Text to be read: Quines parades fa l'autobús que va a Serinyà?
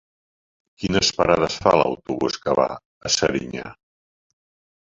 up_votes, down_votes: 1, 2